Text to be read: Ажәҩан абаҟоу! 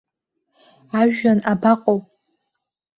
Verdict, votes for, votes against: accepted, 2, 1